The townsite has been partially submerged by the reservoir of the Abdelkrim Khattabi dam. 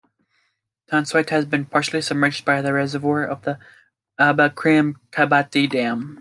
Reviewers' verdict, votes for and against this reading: rejected, 0, 2